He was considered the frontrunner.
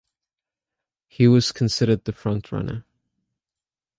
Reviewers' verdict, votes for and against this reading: accepted, 2, 0